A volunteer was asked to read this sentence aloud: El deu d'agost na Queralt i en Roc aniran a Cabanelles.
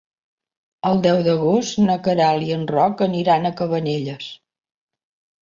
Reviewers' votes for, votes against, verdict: 3, 0, accepted